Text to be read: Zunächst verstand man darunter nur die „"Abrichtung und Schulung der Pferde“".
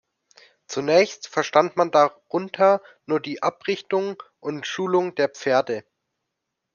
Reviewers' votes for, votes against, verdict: 2, 0, accepted